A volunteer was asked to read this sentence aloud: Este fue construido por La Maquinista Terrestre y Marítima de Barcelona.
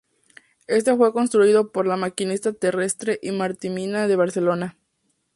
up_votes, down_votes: 0, 4